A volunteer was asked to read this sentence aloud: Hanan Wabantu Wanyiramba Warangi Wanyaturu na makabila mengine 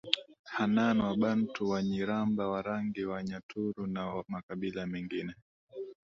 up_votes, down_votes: 2, 0